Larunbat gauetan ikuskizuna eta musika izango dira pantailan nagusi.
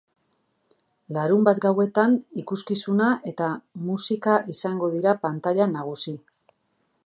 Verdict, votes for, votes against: accepted, 2, 0